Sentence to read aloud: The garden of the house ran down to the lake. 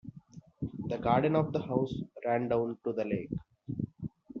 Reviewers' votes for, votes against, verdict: 1, 2, rejected